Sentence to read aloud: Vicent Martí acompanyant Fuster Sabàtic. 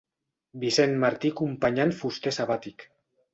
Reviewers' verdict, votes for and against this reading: rejected, 1, 2